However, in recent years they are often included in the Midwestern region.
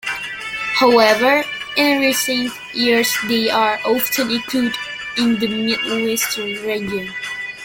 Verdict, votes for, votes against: rejected, 1, 2